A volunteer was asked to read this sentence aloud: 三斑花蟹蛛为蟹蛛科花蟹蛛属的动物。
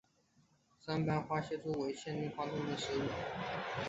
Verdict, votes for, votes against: rejected, 1, 2